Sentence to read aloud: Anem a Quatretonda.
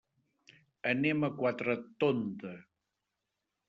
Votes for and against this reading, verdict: 2, 0, accepted